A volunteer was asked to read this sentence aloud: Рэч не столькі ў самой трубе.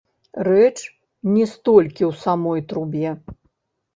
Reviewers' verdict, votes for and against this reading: rejected, 1, 3